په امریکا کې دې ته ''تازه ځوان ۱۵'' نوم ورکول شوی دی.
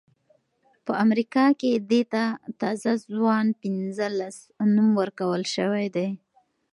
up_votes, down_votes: 0, 2